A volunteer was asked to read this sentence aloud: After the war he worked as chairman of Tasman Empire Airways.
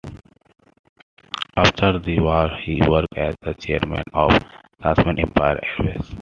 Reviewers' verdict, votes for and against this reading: rejected, 0, 2